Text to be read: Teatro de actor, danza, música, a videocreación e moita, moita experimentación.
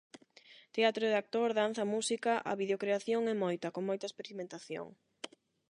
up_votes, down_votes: 0, 8